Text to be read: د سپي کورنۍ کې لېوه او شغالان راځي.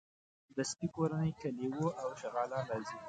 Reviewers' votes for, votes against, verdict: 2, 1, accepted